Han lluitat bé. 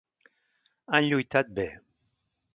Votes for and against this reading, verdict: 2, 0, accepted